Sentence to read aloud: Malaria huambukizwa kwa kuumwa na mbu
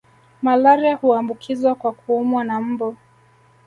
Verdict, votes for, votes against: rejected, 1, 2